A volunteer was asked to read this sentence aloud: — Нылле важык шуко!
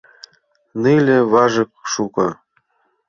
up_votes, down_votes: 2, 1